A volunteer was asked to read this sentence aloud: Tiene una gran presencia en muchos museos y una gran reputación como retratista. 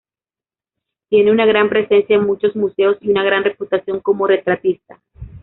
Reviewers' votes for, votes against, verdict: 1, 2, rejected